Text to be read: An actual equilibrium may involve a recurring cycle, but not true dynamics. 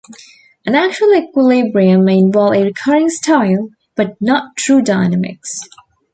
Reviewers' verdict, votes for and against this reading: rejected, 1, 2